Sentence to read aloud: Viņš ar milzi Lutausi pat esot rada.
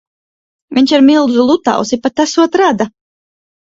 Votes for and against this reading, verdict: 2, 4, rejected